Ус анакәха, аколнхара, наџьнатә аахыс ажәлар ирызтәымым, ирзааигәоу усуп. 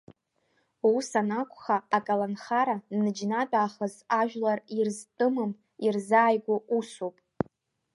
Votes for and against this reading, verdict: 0, 2, rejected